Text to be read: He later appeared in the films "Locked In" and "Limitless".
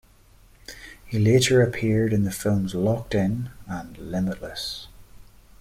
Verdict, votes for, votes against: accepted, 2, 0